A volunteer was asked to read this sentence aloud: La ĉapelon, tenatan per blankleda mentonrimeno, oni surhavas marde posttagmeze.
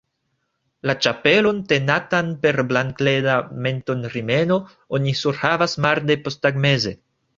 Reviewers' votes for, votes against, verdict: 1, 2, rejected